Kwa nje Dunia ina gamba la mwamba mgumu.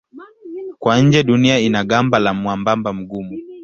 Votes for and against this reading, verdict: 0, 2, rejected